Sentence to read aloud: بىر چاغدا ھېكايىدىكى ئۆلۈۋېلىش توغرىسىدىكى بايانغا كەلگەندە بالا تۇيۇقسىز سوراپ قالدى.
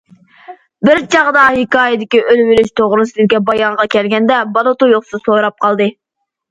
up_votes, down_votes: 2, 0